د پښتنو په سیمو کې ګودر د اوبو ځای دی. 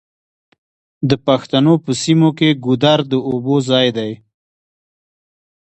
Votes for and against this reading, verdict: 2, 0, accepted